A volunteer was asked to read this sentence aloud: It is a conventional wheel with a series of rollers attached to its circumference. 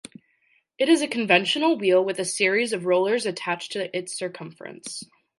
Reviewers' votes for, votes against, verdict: 2, 0, accepted